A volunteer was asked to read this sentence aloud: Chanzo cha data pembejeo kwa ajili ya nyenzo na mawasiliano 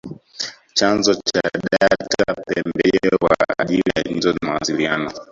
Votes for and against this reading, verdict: 0, 2, rejected